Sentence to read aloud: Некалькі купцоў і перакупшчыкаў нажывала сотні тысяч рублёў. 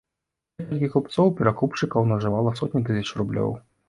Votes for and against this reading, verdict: 1, 2, rejected